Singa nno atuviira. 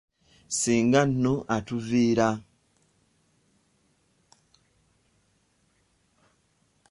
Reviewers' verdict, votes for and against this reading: accepted, 2, 0